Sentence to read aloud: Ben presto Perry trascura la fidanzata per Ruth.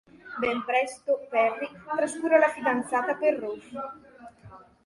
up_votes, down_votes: 0, 2